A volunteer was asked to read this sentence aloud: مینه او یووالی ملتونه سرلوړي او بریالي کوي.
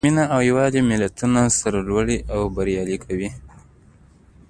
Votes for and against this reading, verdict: 2, 0, accepted